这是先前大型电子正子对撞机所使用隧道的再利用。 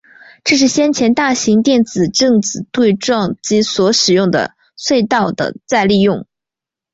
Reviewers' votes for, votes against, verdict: 3, 0, accepted